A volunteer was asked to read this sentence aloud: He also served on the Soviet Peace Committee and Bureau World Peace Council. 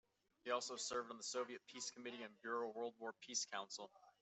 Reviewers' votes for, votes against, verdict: 0, 2, rejected